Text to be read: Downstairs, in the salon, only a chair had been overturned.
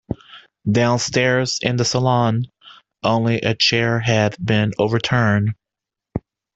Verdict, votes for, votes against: accepted, 2, 0